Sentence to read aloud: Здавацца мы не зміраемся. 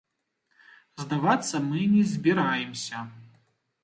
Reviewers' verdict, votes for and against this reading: rejected, 1, 2